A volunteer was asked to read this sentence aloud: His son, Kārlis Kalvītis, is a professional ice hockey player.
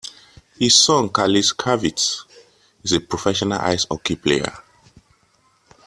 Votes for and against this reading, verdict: 2, 1, accepted